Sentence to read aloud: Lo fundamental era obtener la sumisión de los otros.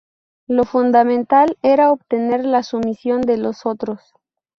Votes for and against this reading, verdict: 4, 0, accepted